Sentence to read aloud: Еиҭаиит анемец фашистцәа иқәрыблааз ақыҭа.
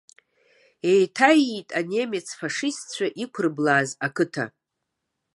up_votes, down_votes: 2, 0